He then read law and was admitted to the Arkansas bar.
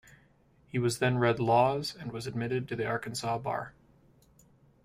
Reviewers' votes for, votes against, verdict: 1, 2, rejected